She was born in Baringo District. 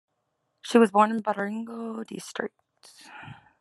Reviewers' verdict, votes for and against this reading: accepted, 2, 0